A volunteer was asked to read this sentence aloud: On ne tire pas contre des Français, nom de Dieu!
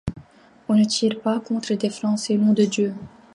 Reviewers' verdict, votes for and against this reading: accepted, 2, 0